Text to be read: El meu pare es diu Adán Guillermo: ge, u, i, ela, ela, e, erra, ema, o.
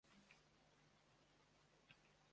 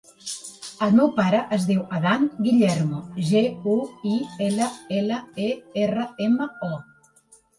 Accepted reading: second